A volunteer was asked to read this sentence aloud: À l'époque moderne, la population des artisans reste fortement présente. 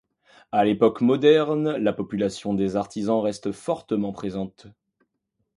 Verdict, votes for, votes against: accepted, 2, 0